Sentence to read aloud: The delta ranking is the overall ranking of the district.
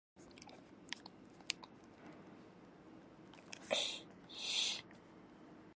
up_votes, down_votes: 0, 2